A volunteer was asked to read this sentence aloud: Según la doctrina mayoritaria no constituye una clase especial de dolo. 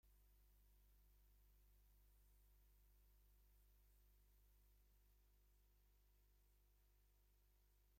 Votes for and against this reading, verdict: 0, 2, rejected